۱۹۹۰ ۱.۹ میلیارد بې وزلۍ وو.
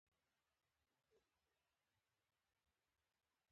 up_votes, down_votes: 0, 2